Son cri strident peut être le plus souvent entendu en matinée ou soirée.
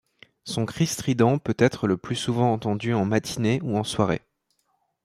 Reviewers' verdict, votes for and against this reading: rejected, 1, 2